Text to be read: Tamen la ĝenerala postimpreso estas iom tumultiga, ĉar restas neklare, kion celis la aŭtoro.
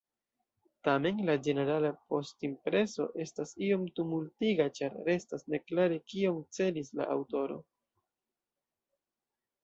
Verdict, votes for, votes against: rejected, 0, 2